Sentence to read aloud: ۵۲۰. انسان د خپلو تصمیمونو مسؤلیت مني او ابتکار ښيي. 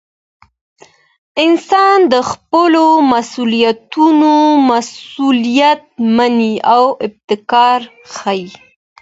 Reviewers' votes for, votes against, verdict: 0, 2, rejected